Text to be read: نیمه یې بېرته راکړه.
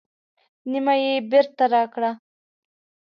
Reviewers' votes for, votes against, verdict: 2, 0, accepted